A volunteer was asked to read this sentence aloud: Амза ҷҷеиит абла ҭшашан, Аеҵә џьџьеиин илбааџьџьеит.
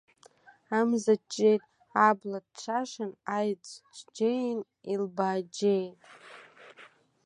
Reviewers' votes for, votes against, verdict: 2, 1, accepted